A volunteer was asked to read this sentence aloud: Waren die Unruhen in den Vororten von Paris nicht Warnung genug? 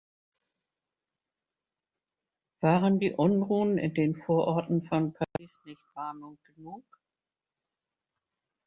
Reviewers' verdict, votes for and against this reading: rejected, 1, 3